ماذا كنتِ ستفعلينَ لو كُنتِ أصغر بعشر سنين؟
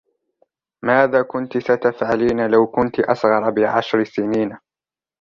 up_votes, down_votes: 0, 2